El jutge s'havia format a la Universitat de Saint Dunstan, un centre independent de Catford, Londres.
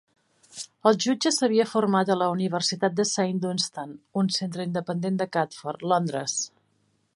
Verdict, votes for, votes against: accepted, 4, 0